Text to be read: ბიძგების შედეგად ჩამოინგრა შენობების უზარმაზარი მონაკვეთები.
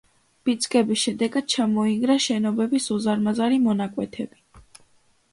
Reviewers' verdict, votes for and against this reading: accepted, 2, 1